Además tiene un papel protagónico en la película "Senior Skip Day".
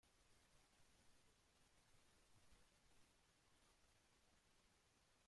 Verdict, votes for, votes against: rejected, 0, 2